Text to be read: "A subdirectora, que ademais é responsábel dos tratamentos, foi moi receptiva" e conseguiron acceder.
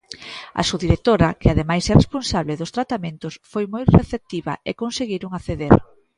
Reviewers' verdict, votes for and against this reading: rejected, 1, 2